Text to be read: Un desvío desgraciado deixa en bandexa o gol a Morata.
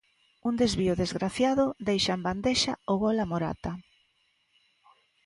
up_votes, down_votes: 2, 0